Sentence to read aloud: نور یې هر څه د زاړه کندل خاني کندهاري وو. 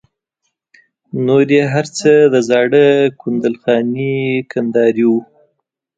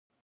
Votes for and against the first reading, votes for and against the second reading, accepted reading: 2, 0, 0, 2, first